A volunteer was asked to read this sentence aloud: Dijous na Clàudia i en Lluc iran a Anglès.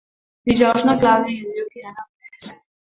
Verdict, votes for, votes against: rejected, 0, 2